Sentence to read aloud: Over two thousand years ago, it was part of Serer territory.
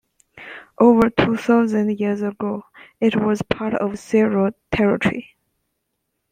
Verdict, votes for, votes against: accepted, 2, 0